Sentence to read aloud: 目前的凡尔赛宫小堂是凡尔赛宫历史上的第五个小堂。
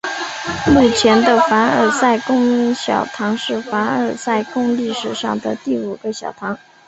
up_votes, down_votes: 2, 0